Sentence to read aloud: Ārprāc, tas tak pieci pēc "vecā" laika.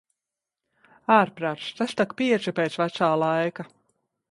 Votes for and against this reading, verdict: 2, 0, accepted